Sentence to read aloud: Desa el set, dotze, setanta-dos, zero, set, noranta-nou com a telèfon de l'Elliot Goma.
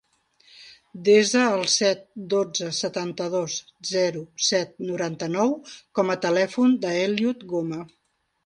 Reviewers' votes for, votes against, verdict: 1, 2, rejected